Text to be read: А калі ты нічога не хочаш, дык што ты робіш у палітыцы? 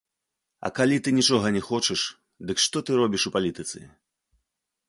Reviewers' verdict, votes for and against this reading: accepted, 2, 0